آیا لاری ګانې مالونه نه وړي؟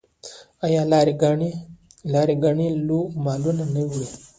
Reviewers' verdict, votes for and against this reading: rejected, 0, 2